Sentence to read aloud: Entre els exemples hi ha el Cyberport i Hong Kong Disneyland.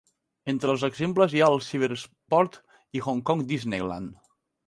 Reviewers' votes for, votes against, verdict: 1, 2, rejected